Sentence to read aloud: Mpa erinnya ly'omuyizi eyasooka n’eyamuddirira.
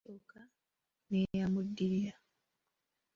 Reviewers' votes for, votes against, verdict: 0, 3, rejected